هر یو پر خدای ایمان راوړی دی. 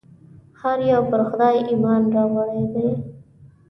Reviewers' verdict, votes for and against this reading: accepted, 2, 0